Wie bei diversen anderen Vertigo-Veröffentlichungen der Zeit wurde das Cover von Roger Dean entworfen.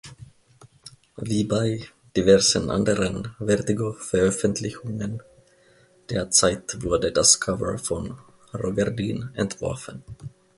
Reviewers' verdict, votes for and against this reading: rejected, 1, 2